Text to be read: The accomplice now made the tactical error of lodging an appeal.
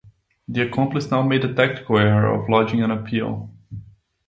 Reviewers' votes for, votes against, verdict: 2, 0, accepted